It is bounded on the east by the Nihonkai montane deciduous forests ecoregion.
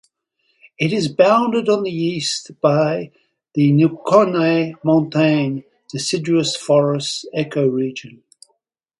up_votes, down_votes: 0, 4